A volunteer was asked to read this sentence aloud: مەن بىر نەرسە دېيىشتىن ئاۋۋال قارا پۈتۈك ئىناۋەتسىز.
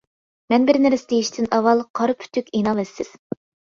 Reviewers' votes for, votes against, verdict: 2, 1, accepted